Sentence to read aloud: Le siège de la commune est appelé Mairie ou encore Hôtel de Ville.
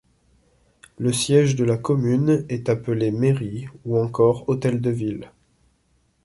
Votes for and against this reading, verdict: 2, 0, accepted